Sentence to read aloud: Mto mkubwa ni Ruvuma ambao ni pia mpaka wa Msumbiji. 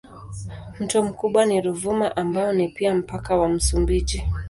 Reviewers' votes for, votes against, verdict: 4, 0, accepted